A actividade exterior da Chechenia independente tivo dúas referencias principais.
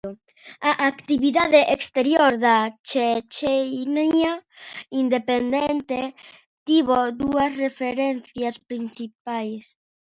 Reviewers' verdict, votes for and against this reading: rejected, 0, 2